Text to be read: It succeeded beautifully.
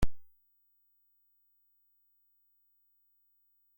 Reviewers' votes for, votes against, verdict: 0, 2, rejected